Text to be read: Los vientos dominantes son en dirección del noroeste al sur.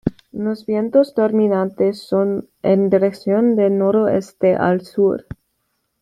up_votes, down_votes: 1, 2